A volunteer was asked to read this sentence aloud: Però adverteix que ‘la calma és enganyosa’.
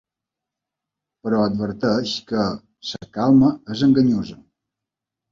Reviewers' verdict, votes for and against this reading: rejected, 0, 2